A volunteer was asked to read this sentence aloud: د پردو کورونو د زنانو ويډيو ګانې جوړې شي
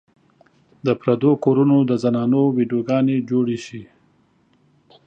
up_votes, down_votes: 2, 0